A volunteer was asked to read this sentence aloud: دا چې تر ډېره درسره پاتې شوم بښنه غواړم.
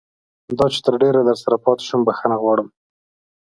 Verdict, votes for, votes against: accepted, 2, 0